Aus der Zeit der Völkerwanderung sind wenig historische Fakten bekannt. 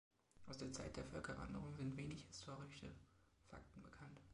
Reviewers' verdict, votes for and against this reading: accepted, 2, 1